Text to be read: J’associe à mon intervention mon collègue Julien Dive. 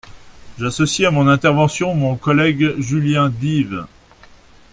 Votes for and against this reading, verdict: 2, 0, accepted